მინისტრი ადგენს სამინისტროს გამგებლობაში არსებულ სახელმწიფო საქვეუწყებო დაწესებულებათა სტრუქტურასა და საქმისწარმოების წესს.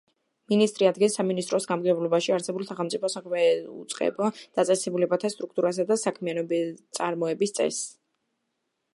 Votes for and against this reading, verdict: 0, 2, rejected